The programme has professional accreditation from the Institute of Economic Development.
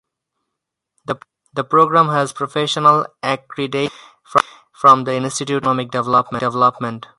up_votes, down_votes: 0, 2